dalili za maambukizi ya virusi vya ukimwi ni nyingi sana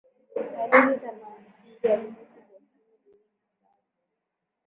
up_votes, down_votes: 0, 2